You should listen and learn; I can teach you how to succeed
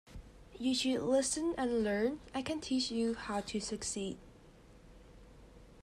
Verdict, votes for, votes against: accepted, 2, 0